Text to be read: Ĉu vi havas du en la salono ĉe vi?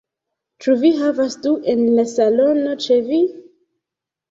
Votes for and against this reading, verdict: 2, 0, accepted